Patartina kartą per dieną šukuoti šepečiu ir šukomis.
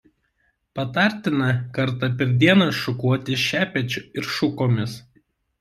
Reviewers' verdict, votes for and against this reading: accepted, 2, 0